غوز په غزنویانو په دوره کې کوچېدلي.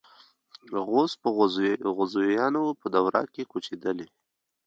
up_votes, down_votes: 1, 2